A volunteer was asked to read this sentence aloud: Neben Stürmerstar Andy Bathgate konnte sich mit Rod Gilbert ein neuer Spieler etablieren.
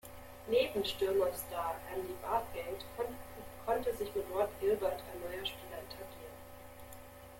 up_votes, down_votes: 0, 2